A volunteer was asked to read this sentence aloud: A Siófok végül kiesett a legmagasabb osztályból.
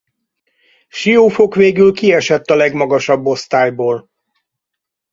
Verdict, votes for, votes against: rejected, 0, 2